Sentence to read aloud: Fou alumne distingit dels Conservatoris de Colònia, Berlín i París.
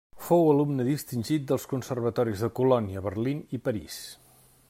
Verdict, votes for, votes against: accepted, 2, 0